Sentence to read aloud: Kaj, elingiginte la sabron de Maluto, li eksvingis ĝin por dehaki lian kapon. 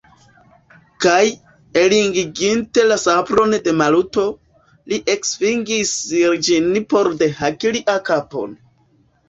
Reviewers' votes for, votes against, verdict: 0, 2, rejected